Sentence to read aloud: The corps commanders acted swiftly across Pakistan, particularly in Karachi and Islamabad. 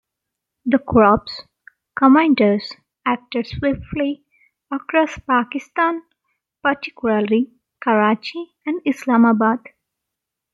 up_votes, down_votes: 0, 2